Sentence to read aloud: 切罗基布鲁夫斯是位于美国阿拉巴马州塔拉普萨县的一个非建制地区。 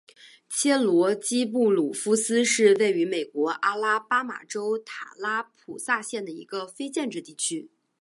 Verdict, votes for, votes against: accepted, 4, 0